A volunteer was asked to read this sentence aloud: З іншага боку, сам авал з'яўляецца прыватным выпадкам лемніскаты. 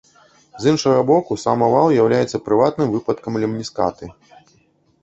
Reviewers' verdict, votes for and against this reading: rejected, 1, 2